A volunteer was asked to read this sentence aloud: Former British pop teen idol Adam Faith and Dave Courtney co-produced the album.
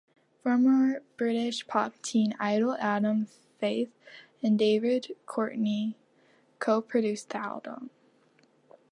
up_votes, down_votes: 0, 2